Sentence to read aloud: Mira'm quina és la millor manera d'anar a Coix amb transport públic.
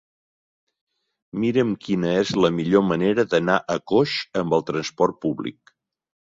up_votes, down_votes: 0, 3